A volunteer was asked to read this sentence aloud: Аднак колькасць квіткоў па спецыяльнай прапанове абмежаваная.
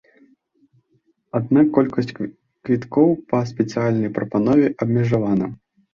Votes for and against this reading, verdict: 1, 2, rejected